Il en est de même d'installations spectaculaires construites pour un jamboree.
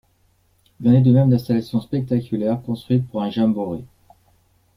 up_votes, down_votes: 1, 2